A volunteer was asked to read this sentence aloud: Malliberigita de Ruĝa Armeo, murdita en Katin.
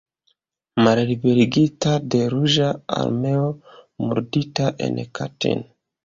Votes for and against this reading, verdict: 1, 2, rejected